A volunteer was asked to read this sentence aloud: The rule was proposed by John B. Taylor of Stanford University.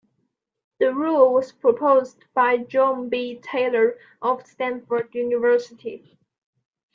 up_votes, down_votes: 2, 0